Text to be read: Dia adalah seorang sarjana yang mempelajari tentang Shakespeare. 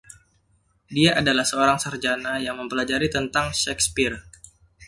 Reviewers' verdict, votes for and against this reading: accepted, 2, 0